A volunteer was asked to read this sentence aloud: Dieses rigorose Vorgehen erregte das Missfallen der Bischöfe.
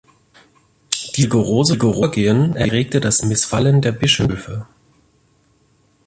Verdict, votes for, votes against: rejected, 0, 2